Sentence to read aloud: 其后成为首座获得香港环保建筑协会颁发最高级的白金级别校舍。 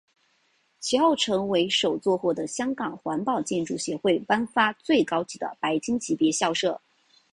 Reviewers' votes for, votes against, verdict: 2, 0, accepted